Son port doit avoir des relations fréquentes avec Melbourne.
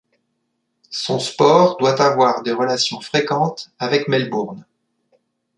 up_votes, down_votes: 0, 2